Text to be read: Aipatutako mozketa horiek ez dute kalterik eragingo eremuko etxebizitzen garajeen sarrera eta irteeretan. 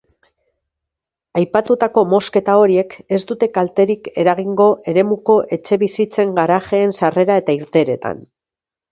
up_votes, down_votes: 2, 0